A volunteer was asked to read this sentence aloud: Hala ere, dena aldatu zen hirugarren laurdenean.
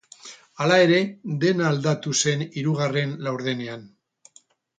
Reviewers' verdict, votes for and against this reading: rejected, 2, 2